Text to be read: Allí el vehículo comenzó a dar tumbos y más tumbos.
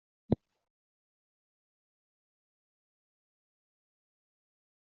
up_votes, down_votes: 0, 2